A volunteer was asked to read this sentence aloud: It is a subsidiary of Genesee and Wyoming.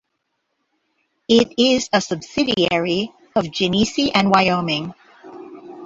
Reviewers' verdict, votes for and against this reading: accepted, 2, 0